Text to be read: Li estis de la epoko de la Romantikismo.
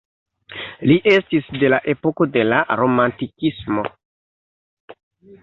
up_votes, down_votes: 2, 0